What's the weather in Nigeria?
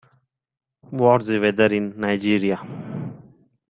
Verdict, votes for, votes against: accepted, 2, 0